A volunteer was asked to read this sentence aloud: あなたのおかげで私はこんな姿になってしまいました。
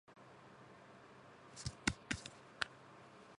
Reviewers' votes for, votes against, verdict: 0, 2, rejected